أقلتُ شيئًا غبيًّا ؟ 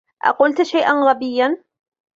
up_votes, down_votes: 2, 1